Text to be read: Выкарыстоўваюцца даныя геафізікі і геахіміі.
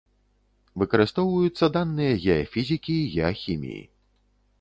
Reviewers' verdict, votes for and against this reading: rejected, 1, 2